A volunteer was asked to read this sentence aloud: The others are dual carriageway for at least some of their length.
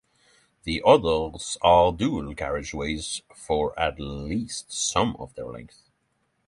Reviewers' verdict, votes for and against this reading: accepted, 6, 3